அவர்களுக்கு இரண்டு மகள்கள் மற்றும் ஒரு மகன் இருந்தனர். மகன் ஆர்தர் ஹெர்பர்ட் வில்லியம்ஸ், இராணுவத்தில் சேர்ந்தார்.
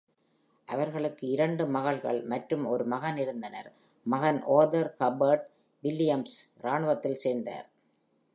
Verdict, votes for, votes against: accepted, 2, 1